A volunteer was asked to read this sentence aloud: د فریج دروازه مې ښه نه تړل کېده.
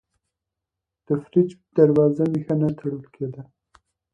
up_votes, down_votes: 2, 0